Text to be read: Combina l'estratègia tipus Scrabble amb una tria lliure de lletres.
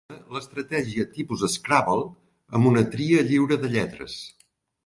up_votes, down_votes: 0, 2